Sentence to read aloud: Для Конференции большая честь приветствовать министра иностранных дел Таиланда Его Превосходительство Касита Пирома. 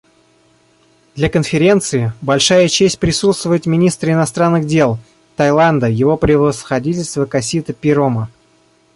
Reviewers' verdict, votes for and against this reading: rejected, 0, 2